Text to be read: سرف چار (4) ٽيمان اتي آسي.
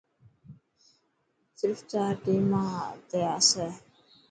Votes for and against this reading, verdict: 0, 2, rejected